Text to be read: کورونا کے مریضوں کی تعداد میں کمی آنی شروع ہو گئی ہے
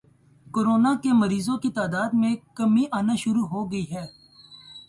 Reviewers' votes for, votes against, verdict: 2, 0, accepted